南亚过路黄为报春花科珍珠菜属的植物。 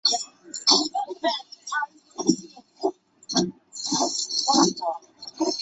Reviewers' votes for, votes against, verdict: 2, 6, rejected